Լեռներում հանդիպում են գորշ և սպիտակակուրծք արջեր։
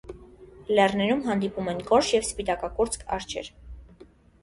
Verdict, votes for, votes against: accepted, 2, 0